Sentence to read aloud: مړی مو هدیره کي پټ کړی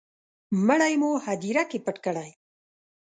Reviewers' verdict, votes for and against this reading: accepted, 2, 0